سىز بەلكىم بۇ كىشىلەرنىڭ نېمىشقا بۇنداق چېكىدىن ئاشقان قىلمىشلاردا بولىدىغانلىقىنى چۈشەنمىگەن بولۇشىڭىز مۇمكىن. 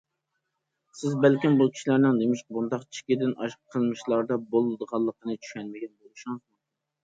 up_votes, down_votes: 0, 2